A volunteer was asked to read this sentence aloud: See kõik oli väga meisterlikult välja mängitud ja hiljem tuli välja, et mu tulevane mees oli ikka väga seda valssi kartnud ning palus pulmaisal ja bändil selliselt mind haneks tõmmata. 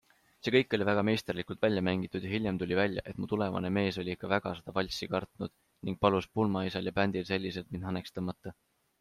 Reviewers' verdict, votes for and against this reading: accepted, 2, 0